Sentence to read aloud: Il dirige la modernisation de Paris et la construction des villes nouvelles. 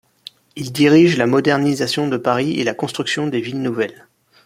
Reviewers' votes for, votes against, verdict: 2, 0, accepted